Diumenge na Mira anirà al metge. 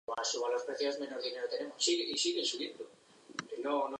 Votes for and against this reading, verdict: 0, 3, rejected